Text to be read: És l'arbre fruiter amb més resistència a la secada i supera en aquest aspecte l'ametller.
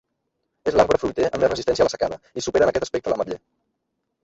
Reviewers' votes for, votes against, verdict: 0, 2, rejected